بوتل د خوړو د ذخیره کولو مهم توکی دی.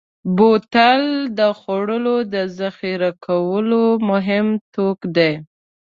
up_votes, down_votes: 0, 2